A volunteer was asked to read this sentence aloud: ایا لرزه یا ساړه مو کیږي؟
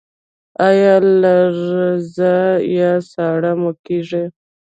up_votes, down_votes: 2, 1